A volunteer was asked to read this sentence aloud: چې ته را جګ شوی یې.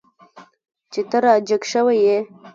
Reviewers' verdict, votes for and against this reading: accepted, 2, 1